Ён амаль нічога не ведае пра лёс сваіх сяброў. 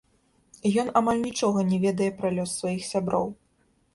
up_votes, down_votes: 1, 2